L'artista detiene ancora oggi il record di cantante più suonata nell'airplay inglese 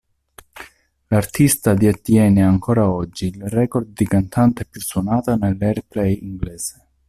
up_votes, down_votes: 1, 2